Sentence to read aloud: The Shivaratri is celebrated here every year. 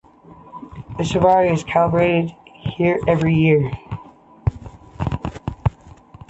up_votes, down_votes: 0, 3